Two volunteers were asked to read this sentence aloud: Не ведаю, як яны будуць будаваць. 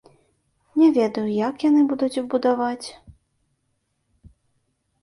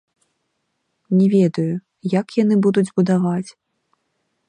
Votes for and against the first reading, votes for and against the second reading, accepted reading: 2, 0, 0, 2, first